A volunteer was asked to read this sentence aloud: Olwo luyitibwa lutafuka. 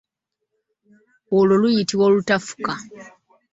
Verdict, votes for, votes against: rejected, 0, 2